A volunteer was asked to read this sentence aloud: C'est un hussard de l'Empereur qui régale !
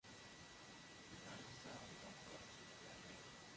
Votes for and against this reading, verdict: 0, 2, rejected